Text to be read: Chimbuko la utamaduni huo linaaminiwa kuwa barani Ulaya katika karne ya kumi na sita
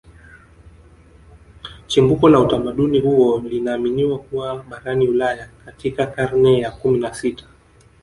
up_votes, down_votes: 2, 1